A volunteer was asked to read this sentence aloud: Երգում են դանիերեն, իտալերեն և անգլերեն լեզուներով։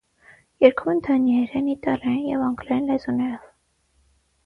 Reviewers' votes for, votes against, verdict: 6, 0, accepted